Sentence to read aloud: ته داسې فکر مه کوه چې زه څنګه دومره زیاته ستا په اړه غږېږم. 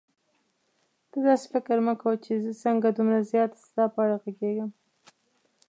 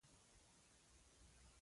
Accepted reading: first